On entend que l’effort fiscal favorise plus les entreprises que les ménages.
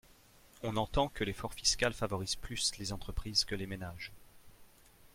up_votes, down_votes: 2, 0